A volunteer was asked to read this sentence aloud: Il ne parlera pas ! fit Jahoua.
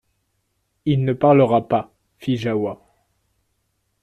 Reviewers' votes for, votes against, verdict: 2, 0, accepted